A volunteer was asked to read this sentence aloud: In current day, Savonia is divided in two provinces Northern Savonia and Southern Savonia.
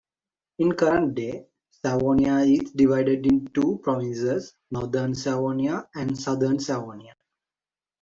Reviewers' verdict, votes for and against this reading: rejected, 1, 2